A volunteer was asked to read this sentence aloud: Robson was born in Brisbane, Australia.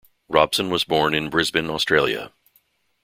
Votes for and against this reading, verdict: 2, 0, accepted